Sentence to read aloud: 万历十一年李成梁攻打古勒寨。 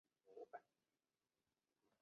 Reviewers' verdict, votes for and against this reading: rejected, 0, 2